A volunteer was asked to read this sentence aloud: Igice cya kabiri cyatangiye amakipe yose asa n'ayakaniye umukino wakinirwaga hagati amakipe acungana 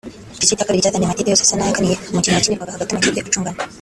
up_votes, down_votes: 0, 3